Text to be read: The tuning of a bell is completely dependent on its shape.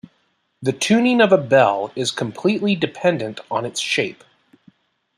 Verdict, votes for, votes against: accepted, 2, 0